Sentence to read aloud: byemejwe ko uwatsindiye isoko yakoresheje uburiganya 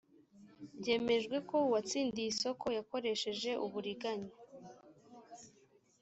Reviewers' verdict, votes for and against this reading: accepted, 2, 0